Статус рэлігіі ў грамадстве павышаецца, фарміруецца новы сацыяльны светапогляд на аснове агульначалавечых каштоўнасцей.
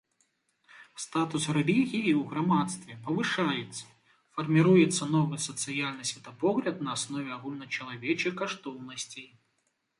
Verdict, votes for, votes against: accepted, 2, 0